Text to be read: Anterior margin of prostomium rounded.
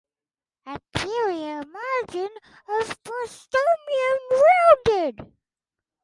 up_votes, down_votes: 4, 2